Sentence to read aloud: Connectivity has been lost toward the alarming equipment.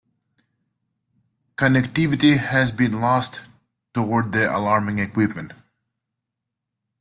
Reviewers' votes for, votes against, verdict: 2, 0, accepted